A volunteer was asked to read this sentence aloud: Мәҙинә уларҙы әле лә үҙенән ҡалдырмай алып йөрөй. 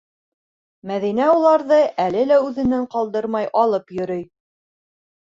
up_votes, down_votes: 3, 0